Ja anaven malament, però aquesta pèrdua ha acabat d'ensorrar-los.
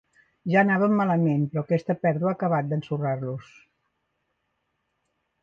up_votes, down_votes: 2, 0